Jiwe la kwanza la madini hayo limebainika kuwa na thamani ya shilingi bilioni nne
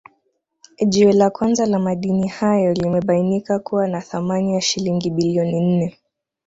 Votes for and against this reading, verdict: 2, 0, accepted